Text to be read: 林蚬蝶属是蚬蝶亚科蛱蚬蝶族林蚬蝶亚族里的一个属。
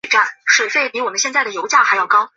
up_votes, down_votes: 0, 2